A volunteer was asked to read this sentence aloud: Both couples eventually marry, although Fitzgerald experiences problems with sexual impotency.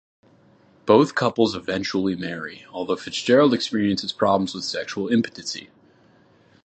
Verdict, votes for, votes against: accepted, 2, 1